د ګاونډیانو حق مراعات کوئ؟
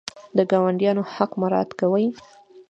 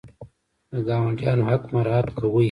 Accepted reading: first